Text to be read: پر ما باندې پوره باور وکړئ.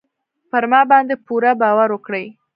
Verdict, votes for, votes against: rejected, 1, 2